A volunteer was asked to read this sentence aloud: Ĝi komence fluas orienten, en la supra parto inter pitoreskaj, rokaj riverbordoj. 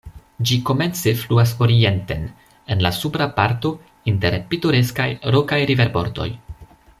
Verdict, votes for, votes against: accepted, 2, 0